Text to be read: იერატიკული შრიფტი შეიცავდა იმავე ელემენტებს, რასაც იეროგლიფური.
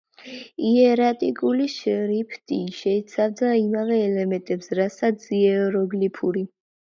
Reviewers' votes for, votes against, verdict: 2, 0, accepted